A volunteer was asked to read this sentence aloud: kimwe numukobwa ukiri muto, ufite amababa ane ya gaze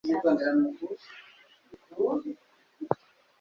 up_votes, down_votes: 2, 3